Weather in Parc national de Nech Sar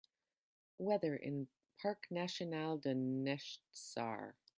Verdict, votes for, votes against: rejected, 0, 3